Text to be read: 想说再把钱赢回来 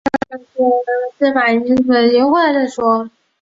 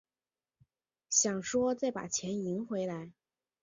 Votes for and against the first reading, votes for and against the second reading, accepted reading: 3, 5, 3, 0, second